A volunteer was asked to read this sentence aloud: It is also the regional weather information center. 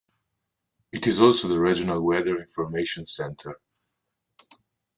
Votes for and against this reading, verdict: 2, 1, accepted